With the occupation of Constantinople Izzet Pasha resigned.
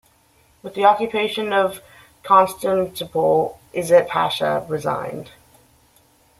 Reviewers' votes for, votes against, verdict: 0, 2, rejected